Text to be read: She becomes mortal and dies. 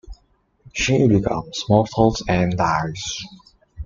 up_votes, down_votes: 2, 1